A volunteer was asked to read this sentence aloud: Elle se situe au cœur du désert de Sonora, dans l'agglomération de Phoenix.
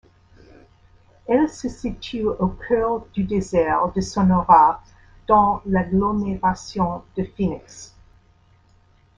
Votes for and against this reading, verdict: 2, 1, accepted